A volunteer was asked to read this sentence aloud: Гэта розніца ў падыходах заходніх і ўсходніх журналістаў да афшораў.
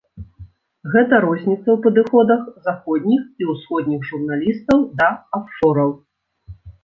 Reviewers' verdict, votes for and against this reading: accepted, 2, 0